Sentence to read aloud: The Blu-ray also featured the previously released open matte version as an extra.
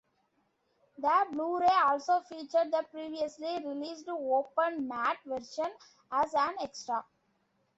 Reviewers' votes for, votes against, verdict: 2, 0, accepted